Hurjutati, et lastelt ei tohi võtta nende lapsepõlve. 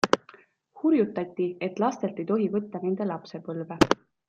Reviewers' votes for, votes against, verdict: 2, 0, accepted